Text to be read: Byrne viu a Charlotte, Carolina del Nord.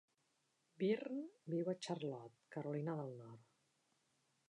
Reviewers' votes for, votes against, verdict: 0, 2, rejected